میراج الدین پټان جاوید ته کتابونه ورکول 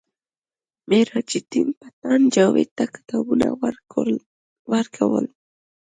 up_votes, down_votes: 1, 2